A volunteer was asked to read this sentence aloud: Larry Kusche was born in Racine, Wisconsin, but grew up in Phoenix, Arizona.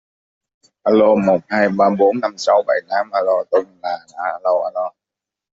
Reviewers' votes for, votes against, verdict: 0, 2, rejected